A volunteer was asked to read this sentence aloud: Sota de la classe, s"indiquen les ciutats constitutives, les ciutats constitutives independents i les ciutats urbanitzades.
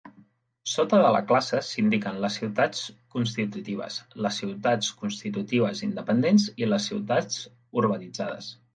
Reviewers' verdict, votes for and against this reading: accepted, 2, 0